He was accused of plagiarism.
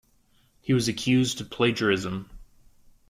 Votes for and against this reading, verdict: 2, 0, accepted